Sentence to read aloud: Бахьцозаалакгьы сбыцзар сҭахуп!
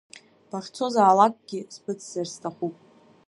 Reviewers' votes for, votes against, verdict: 1, 2, rejected